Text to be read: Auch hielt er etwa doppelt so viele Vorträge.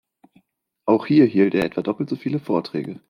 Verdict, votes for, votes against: rejected, 0, 2